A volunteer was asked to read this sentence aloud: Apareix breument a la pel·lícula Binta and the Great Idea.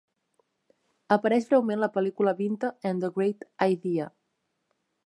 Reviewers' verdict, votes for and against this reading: rejected, 0, 3